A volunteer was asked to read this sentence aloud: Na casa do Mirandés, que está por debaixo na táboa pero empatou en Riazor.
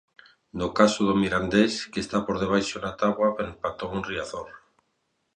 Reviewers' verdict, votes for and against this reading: rejected, 0, 2